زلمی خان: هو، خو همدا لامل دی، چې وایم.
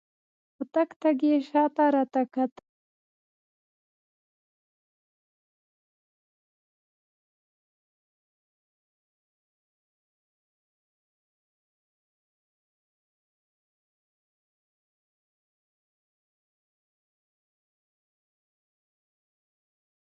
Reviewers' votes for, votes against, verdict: 0, 2, rejected